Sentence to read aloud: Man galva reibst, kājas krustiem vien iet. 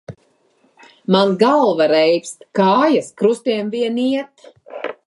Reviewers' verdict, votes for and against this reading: accepted, 2, 0